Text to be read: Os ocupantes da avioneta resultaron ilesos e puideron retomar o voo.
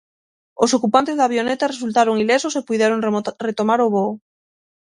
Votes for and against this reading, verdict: 0, 6, rejected